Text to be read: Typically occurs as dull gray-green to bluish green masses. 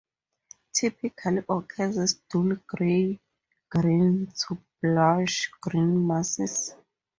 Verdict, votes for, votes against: rejected, 0, 2